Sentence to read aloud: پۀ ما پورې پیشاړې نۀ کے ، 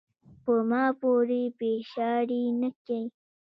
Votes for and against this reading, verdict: 0, 2, rejected